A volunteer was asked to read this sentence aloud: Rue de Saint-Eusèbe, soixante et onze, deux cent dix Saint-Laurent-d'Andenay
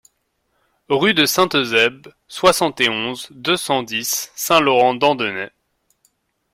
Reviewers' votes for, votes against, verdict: 2, 0, accepted